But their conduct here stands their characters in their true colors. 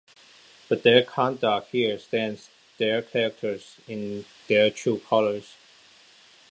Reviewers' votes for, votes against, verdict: 0, 2, rejected